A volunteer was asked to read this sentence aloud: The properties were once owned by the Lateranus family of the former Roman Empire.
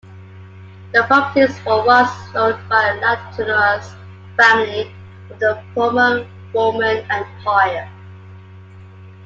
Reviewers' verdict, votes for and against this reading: accepted, 2, 0